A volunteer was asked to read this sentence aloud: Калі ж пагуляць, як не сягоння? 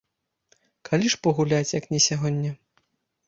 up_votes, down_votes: 2, 0